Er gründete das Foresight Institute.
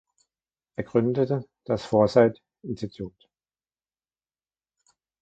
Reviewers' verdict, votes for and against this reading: rejected, 1, 2